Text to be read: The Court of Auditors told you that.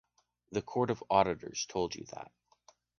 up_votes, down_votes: 2, 0